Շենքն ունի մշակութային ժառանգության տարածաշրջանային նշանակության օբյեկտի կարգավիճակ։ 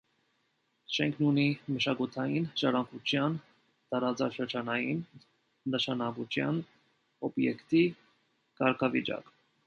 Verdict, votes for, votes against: rejected, 0, 2